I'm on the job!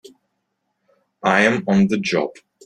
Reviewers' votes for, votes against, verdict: 2, 1, accepted